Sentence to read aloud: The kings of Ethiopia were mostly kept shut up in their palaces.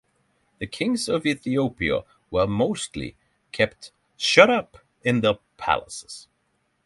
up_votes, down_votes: 3, 0